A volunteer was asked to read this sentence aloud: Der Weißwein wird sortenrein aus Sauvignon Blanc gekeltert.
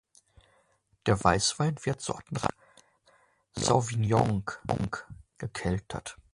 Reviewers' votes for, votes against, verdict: 0, 2, rejected